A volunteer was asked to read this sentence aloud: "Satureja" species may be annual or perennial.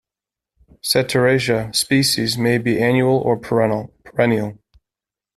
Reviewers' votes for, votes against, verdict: 0, 2, rejected